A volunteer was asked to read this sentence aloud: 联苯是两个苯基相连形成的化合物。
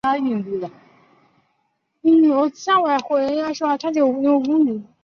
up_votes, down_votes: 1, 4